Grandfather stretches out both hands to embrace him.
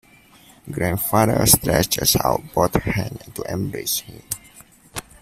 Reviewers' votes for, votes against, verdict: 2, 0, accepted